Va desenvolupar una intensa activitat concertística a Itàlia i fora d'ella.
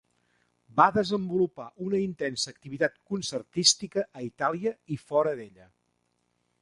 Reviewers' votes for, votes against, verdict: 3, 1, accepted